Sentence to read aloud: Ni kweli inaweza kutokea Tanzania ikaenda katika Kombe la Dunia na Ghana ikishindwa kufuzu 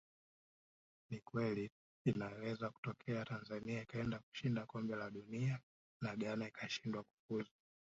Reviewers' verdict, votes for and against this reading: accepted, 5, 2